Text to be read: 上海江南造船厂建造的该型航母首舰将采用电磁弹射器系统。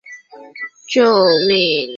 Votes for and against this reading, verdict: 0, 3, rejected